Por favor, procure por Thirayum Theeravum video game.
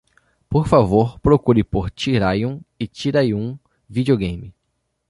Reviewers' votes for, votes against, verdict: 1, 2, rejected